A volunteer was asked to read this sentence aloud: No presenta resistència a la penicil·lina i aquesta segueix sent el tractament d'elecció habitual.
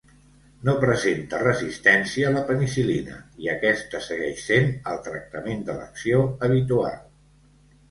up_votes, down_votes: 1, 2